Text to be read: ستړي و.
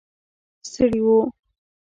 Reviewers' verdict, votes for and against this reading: rejected, 1, 2